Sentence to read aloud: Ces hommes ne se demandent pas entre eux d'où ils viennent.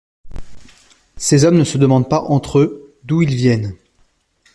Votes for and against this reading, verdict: 2, 0, accepted